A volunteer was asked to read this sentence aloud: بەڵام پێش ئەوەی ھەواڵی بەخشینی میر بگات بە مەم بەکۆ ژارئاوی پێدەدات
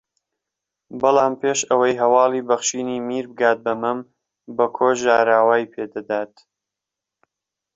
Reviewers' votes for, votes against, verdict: 1, 2, rejected